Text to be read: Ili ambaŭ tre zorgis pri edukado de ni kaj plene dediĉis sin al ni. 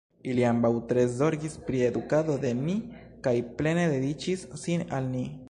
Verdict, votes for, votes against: rejected, 1, 2